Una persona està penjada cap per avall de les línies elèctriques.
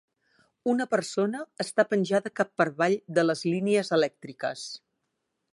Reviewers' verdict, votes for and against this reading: accepted, 2, 0